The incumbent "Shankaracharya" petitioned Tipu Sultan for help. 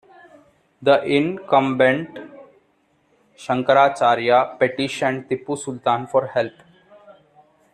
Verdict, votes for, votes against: accepted, 2, 0